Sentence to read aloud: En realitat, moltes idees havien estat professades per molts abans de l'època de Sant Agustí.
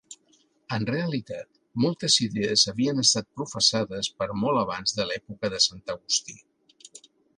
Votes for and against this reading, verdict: 2, 1, accepted